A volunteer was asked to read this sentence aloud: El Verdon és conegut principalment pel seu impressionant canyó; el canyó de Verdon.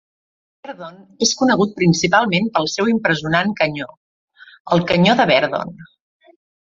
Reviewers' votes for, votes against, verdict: 0, 2, rejected